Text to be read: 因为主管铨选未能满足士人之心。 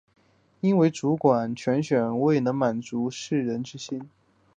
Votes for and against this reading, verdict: 5, 0, accepted